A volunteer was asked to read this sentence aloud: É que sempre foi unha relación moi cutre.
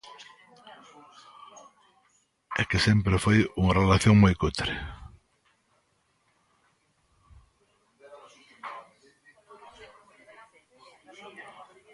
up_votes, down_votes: 0, 2